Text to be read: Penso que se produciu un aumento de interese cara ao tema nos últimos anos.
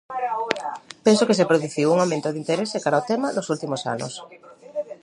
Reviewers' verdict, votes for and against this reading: rejected, 1, 2